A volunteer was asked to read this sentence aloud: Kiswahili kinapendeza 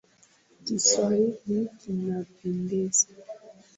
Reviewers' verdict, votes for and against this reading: accepted, 4, 1